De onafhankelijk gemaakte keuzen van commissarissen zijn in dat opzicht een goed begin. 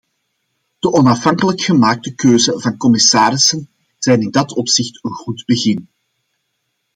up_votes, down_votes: 2, 0